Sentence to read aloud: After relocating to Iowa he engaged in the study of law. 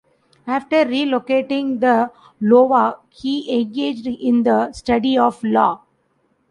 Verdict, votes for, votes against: rejected, 0, 2